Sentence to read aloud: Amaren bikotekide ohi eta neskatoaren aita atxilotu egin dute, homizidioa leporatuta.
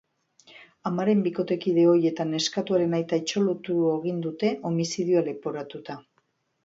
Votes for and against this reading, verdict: 1, 2, rejected